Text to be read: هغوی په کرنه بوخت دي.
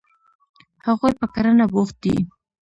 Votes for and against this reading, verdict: 0, 2, rejected